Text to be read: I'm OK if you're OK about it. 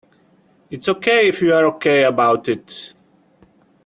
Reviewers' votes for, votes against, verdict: 0, 2, rejected